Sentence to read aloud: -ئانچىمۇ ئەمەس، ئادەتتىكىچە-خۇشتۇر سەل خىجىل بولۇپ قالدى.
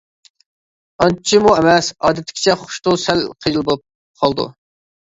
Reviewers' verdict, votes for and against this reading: rejected, 1, 2